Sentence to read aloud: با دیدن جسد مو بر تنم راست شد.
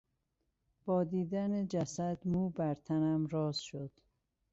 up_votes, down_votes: 2, 0